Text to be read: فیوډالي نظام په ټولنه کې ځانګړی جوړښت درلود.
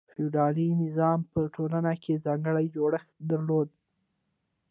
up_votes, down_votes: 2, 0